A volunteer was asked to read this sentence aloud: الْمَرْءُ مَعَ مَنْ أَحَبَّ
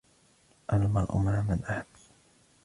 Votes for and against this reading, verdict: 2, 1, accepted